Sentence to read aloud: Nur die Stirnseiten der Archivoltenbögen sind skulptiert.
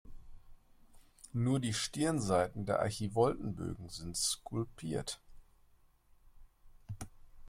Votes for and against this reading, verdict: 2, 1, accepted